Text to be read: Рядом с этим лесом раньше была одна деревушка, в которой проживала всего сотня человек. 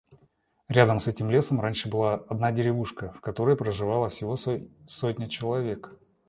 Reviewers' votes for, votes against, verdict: 0, 2, rejected